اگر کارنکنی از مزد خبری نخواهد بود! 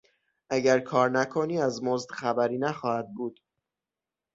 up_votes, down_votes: 6, 0